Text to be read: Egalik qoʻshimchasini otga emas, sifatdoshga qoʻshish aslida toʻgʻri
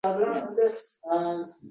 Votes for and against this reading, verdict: 0, 2, rejected